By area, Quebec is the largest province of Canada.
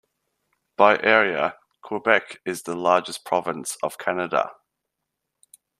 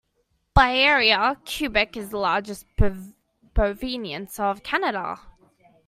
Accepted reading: first